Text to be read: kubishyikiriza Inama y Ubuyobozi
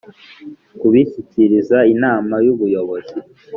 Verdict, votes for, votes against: accepted, 2, 0